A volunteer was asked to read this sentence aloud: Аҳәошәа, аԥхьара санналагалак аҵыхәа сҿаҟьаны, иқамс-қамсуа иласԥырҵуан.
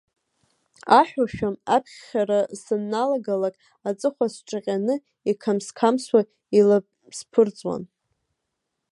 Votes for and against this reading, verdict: 0, 3, rejected